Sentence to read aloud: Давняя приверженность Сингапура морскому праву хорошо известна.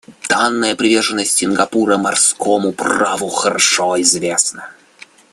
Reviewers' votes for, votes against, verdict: 1, 2, rejected